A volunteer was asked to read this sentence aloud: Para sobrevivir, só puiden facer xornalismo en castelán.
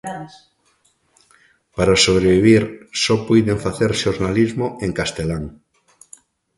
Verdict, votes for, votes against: rejected, 1, 2